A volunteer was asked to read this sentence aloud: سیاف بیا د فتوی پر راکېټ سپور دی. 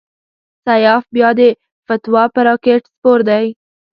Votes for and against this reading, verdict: 2, 0, accepted